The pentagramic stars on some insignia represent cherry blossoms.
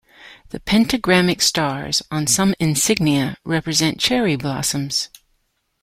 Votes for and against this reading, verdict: 2, 0, accepted